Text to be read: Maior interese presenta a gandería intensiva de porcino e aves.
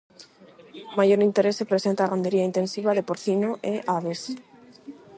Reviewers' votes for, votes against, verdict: 4, 4, rejected